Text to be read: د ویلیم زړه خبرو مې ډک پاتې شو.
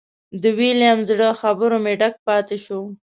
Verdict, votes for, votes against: accepted, 2, 0